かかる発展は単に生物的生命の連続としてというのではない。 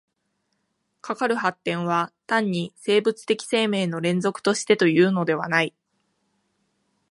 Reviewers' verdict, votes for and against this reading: accepted, 4, 0